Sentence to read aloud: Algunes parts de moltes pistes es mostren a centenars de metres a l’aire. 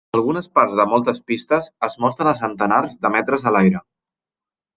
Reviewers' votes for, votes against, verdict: 3, 0, accepted